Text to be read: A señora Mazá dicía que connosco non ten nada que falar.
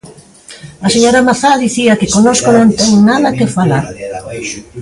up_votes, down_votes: 1, 2